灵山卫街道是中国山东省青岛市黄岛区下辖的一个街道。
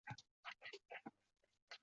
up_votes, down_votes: 0, 7